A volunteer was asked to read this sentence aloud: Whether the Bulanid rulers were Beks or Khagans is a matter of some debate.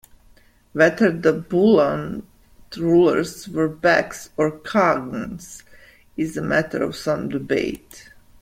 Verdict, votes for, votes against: rejected, 1, 2